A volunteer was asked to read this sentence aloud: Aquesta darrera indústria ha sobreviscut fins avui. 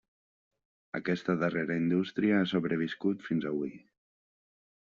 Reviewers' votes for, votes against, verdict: 3, 0, accepted